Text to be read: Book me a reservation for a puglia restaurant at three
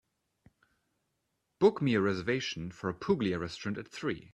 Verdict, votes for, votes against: accepted, 3, 0